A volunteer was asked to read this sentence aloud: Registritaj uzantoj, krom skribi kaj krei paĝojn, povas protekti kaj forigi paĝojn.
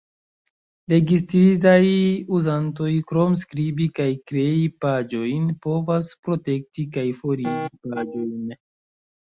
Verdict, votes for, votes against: rejected, 0, 3